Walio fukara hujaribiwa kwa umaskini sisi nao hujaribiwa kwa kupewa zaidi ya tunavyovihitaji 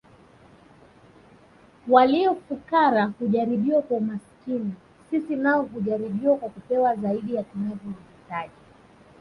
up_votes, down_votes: 1, 2